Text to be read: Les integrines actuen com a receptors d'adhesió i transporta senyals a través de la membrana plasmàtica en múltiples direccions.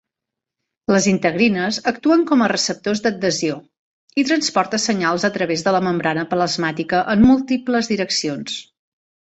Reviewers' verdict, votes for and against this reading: accepted, 2, 1